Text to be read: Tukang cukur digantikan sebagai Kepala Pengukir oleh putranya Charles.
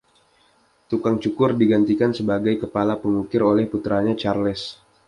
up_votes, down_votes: 2, 0